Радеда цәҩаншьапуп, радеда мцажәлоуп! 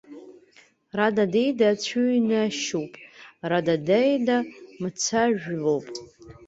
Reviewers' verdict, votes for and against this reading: rejected, 0, 2